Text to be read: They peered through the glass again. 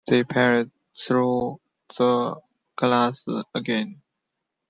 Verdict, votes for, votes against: accepted, 2, 0